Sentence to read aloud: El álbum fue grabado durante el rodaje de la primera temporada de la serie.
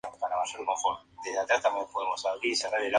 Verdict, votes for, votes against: rejected, 0, 2